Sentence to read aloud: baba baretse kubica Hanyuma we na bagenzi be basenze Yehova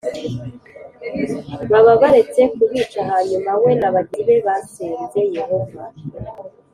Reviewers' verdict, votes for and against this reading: accepted, 2, 0